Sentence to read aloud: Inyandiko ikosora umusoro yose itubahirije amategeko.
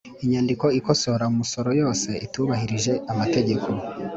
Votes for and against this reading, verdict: 3, 0, accepted